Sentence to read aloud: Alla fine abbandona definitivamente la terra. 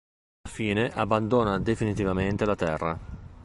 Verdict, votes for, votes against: accepted, 4, 3